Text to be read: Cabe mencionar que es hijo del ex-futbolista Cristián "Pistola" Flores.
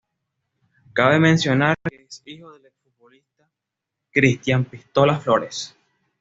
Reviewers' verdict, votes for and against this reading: rejected, 1, 2